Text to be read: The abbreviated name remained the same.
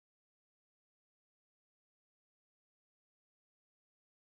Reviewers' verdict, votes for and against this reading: rejected, 0, 2